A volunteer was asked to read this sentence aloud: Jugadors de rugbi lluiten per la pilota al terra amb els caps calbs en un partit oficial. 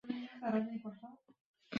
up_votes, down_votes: 0, 2